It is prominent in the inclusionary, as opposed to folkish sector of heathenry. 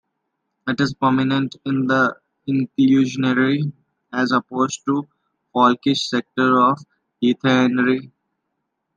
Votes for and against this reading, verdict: 2, 1, accepted